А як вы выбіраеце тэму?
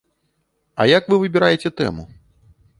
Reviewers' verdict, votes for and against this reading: accepted, 2, 0